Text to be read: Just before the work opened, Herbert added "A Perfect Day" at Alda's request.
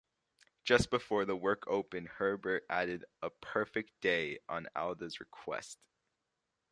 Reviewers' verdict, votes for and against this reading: rejected, 1, 2